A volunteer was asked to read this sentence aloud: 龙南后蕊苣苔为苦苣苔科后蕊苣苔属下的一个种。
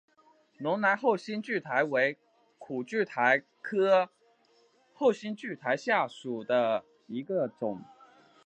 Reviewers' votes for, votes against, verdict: 4, 0, accepted